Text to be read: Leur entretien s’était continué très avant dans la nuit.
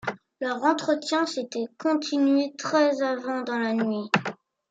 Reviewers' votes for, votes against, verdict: 2, 0, accepted